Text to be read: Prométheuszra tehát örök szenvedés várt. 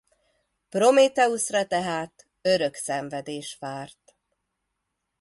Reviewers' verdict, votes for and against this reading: accepted, 2, 0